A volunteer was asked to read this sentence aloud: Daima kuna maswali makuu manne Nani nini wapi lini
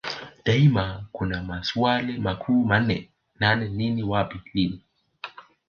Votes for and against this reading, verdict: 2, 1, accepted